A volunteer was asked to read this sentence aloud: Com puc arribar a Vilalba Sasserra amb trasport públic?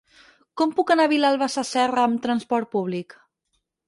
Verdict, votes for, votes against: rejected, 2, 4